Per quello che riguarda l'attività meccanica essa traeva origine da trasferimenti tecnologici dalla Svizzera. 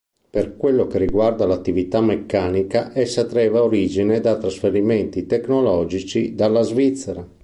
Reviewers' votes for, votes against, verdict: 2, 0, accepted